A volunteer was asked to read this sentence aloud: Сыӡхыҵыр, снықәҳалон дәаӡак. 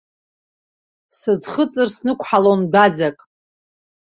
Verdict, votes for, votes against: accepted, 2, 0